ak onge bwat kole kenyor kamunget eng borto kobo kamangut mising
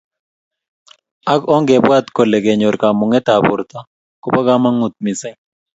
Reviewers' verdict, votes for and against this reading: accepted, 2, 0